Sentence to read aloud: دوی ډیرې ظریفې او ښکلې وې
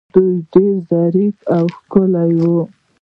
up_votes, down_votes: 1, 2